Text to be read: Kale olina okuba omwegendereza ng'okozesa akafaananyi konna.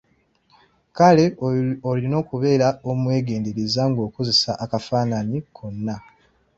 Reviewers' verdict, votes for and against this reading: rejected, 1, 2